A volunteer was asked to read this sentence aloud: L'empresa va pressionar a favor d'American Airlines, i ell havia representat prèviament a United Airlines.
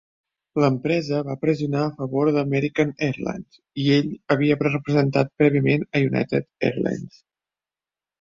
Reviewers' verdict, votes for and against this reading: rejected, 2, 3